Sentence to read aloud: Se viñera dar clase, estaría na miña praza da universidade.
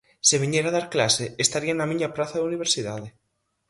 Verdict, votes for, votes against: accepted, 4, 0